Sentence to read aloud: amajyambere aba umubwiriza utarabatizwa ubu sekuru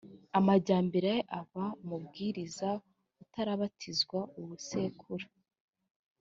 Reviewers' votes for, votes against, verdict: 2, 0, accepted